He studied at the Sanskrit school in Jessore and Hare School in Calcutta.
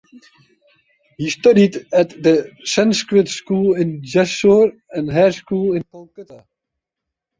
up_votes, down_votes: 2, 0